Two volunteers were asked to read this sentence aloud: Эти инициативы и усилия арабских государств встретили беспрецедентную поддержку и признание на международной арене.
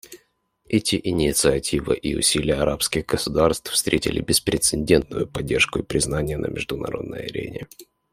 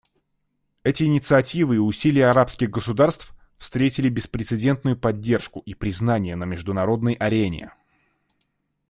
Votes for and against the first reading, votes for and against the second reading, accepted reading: 1, 2, 2, 0, second